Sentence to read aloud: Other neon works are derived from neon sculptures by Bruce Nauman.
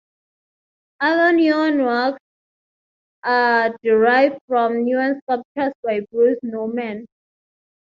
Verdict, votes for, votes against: accepted, 3, 0